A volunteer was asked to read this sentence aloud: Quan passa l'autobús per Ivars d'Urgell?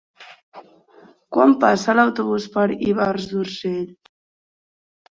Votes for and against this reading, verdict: 2, 0, accepted